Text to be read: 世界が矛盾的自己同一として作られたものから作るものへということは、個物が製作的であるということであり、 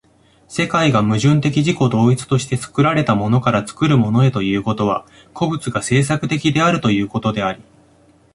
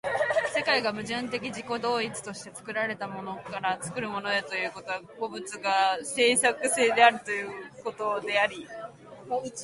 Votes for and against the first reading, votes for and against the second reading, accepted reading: 2, 0, 0, 2, first